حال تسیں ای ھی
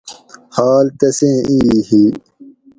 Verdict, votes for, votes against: accepted, 2, 0